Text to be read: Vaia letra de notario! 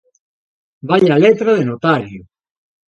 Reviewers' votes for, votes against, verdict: 2, 0, accepted